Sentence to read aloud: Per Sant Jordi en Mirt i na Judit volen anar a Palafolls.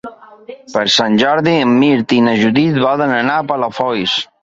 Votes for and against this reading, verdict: 3, 0, accepted